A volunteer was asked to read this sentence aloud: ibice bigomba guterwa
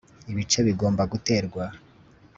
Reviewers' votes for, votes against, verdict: 2, 0, accepted